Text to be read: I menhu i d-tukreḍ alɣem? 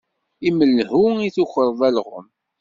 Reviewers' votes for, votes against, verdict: 1, 2, rejected